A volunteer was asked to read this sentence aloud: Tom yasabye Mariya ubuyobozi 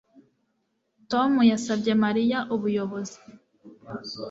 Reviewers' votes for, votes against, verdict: 2, 0, accepted